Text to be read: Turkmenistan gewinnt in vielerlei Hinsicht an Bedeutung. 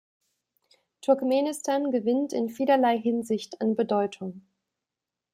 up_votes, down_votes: 2, 0